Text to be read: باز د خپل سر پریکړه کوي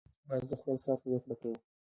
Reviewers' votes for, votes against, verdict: 2, 0, accepted